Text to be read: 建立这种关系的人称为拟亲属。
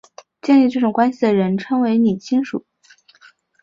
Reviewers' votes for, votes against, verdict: 2, 0, accepted